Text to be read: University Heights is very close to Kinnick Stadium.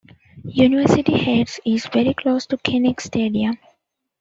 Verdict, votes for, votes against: accepted, 2, 0